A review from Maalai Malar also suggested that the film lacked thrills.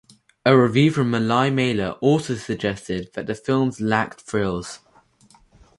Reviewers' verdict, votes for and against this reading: rejected, 2, 2